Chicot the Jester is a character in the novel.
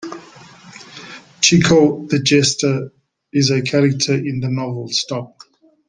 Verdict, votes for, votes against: accepted, 2, 0